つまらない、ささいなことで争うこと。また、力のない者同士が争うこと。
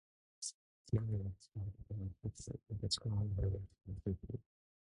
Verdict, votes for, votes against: rejected, 1, 2